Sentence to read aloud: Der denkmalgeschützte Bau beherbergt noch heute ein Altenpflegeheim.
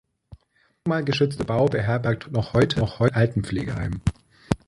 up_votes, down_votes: 0, 2